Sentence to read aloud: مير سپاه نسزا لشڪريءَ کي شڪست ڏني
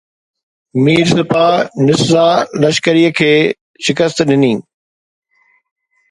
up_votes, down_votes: 2, 0